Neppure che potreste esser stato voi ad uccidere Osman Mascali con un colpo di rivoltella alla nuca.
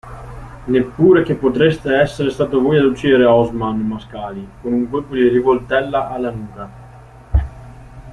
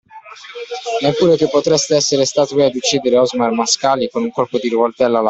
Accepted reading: first